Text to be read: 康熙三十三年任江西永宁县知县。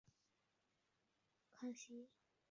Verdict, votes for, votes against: rejected, 1, 2